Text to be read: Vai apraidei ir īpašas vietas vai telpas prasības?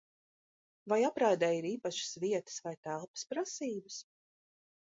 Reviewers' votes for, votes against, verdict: 2, 0, accepted